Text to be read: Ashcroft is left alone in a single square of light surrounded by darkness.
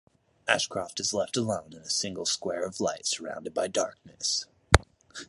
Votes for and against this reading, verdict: 2, 0, accepted